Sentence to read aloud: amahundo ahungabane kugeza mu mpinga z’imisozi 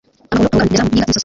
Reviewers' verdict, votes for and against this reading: rejected, 0, 2